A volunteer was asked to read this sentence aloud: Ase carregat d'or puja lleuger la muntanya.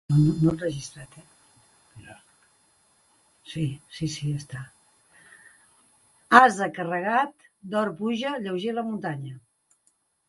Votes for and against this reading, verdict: 1, 2, rejected